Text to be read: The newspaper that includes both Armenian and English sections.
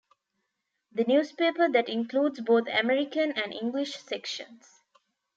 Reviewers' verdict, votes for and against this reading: rejected, 0, 2